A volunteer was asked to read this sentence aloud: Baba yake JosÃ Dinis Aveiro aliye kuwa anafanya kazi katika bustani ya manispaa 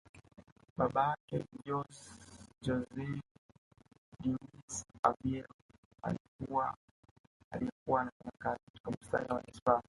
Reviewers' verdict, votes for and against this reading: accepted, 2, 1